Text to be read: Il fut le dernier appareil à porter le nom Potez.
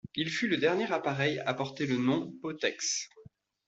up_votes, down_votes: 1, 2